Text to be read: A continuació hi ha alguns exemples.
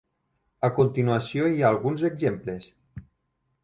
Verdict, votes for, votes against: rejected, 1, 2